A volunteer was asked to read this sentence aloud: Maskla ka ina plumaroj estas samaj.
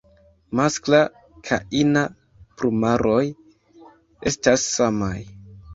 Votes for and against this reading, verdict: 2, 0, accepted